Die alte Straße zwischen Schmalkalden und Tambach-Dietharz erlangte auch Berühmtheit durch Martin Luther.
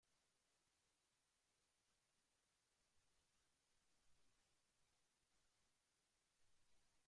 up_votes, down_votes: 0, 2